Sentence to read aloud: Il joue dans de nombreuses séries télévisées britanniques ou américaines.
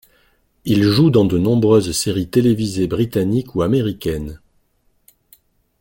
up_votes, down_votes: 2, 0